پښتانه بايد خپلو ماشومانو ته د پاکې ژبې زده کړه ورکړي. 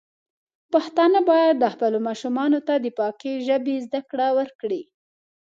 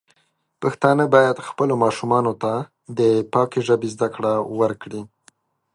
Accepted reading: second